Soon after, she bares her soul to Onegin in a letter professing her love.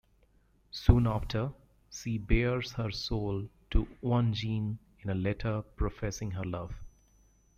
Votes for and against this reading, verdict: 1, 2, rejected